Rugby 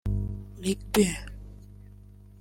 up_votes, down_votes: 1, 2